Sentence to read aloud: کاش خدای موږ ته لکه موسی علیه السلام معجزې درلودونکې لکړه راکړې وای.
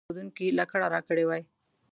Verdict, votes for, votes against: rejected, 0, 3